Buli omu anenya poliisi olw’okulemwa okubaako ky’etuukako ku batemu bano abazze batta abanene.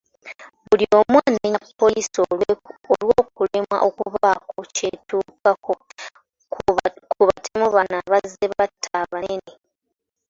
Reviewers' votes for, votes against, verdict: 0, 2, rejected